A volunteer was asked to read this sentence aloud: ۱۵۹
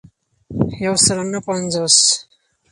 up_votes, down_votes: 0, 2